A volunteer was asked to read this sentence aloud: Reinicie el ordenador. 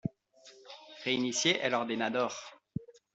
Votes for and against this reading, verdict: 0, 2, rejected